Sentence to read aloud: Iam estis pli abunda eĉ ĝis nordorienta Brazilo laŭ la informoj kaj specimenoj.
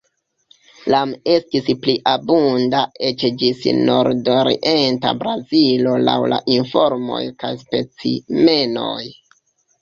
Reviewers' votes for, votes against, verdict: 0, 2, rejected